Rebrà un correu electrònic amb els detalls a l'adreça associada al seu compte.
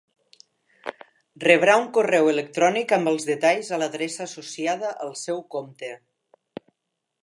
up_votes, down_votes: 2, 0